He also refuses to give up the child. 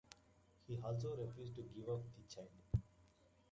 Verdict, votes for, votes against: rejected, 1, 2